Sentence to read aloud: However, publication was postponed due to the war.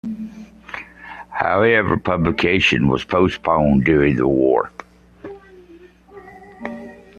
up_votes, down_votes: 1, 2